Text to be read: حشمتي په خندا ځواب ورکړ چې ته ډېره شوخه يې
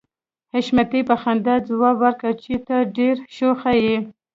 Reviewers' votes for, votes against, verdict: 0, 2, rejected